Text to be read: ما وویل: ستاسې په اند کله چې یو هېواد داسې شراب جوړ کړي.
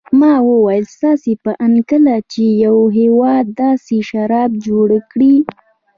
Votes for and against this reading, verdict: 2, 0, accepted